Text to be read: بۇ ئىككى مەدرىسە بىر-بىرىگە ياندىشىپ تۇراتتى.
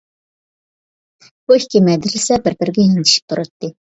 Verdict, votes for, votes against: rejected, 0, 2